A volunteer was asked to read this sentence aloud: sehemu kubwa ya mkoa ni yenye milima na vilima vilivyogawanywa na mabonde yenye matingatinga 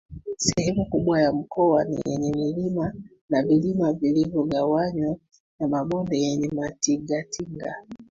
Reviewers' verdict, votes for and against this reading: rejected, 0, 2